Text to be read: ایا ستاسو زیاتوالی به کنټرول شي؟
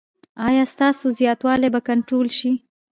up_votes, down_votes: 2, 3